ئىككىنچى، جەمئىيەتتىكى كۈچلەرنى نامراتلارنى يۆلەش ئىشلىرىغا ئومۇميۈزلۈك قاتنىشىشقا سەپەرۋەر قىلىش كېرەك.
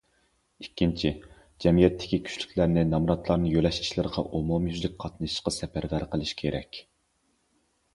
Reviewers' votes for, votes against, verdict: 0, 2, rejected